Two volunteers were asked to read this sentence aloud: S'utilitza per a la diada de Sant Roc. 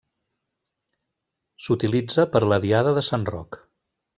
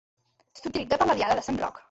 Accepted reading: first